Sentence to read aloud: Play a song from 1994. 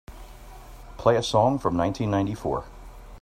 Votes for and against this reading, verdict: 0, 2, rejected